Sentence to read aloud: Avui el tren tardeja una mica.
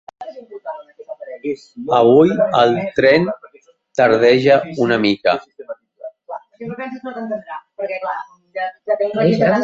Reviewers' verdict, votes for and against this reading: rejected, 1, 2